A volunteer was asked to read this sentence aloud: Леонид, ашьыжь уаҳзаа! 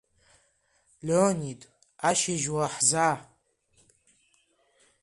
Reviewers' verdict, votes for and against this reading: rejected, 0, 2